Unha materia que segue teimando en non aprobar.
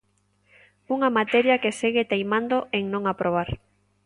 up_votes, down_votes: 2, 0